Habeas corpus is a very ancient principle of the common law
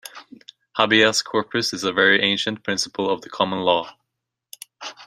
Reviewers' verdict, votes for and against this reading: rejected, 1, 2